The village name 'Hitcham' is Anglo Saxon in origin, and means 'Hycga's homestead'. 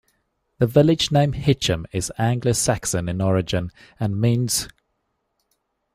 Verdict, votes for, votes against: rejected, 0, 2